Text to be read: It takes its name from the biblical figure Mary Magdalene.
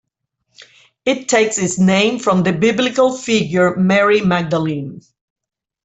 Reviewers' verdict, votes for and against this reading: accepted, 2, 1